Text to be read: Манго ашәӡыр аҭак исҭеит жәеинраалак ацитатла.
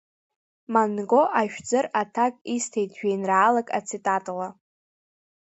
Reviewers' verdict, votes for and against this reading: rejected, 0, 2